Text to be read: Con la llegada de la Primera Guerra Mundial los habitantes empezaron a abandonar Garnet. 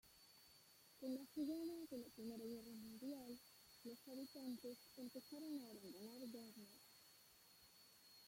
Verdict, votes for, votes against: rejected, 0, 2